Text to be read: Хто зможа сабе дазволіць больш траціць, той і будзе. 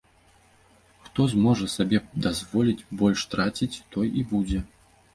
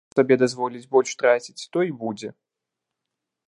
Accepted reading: first